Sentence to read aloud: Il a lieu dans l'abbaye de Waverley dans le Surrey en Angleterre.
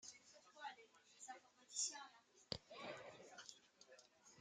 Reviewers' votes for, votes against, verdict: 0, 2, rejected